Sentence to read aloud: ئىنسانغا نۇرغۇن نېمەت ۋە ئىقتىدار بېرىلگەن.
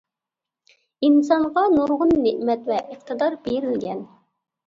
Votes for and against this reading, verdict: 2, 0, accepted